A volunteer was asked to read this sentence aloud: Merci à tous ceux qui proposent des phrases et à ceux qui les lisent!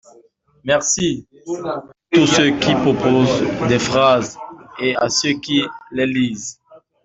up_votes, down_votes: 2, 0